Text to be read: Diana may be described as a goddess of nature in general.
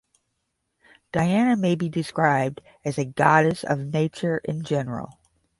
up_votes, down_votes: 5, 5